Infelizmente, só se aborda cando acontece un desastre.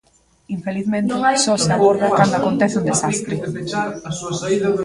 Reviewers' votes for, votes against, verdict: 0, 2, rejected